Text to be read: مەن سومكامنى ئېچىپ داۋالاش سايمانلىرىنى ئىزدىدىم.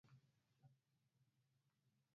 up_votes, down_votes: 0, 4